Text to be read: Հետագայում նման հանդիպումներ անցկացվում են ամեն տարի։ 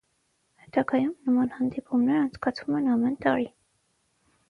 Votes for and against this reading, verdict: 6, 0, accepted